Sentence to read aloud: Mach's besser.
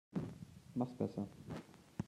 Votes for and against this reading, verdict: 1, 2, rejected